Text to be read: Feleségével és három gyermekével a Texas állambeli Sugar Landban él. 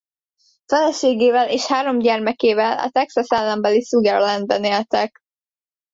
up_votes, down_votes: 0, 2